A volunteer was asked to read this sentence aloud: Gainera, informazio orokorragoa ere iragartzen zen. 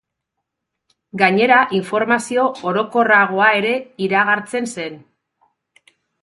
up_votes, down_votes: 4, 0